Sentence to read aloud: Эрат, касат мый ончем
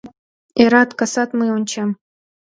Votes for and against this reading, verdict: 2, 0, accepted